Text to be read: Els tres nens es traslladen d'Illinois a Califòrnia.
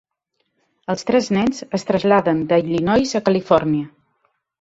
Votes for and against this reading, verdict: 1, 2, rejected